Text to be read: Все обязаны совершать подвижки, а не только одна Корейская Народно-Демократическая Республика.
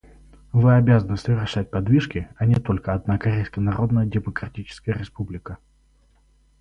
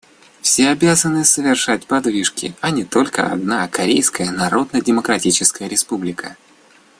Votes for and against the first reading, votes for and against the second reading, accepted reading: 2, 2, 2, 0, second